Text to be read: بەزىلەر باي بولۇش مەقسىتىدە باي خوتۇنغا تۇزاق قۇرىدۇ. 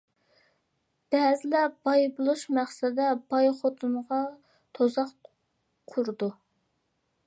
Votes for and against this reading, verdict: 0, 2, rejected